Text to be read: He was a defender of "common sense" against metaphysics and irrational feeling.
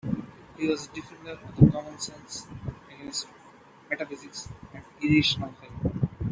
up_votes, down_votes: 0, 2